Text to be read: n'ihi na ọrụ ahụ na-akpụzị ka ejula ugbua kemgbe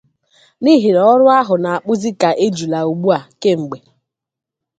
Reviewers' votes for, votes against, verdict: 2, 0, accepted